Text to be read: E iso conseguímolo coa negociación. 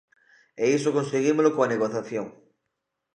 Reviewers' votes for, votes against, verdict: 1, 2, rejected